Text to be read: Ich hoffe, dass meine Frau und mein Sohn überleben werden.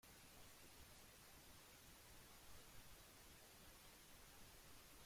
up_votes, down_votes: 0, 2